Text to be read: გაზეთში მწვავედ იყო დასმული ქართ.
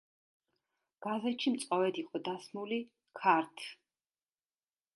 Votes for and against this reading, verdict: 1, 2, rejected